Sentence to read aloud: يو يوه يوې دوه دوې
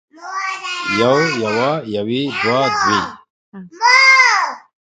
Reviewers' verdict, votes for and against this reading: rejected, 0, 2